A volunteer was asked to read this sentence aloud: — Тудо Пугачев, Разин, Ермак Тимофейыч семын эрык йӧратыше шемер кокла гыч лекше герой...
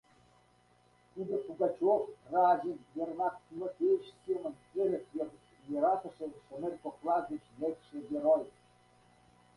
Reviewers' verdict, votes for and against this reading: rejected, 1, 2